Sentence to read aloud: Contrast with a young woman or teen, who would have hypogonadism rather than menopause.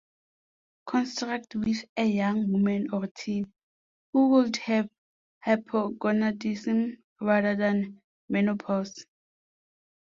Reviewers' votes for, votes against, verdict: 1, 2, rejected